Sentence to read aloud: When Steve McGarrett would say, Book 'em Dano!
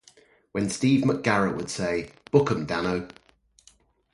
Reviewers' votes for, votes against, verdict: 2, 0, accepted